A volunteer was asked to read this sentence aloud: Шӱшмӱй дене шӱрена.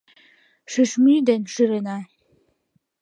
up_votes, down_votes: 2, 0